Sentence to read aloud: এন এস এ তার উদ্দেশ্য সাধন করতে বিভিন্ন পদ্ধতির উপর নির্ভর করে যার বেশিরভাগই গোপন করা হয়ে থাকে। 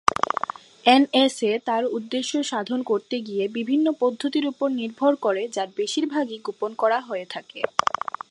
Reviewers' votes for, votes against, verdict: 2, 3, rejected